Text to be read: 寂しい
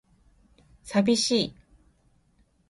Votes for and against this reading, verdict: 2, 0, accepted